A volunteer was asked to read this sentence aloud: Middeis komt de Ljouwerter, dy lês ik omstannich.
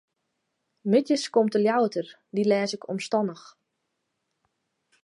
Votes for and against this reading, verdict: 2, 0, accepted